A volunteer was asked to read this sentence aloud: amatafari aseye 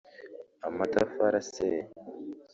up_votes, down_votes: 1, 2